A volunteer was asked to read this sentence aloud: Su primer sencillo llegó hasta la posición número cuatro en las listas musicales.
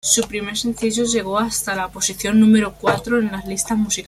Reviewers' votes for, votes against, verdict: 0, 2, rejected